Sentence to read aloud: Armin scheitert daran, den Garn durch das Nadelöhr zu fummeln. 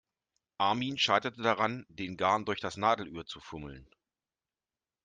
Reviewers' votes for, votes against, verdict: 0, 2, rejected